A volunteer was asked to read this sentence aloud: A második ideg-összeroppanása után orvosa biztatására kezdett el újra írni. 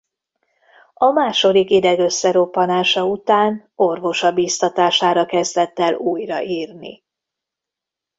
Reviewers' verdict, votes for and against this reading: accepted, 2, 0